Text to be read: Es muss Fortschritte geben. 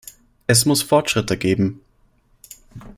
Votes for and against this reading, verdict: 2, 0, accepted